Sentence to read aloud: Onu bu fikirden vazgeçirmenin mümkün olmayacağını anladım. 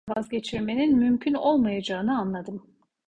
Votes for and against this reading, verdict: 0, 2, rejected